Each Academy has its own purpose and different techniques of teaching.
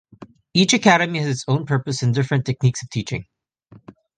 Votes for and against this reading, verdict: 5, 0, accepted